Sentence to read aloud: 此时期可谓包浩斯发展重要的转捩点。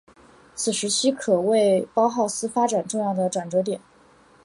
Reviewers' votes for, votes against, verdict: 3, 0, accepted